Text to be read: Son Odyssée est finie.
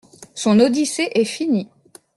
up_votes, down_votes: 2, 0